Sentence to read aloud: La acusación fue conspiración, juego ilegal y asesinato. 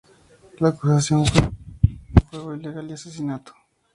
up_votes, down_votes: 0, 2